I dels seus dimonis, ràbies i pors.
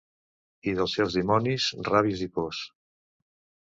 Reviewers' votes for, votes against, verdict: 0, 2, rejected